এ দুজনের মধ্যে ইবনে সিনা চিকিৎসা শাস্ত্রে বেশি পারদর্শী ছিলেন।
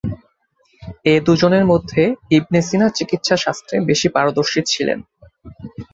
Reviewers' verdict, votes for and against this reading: accepted, 2, 0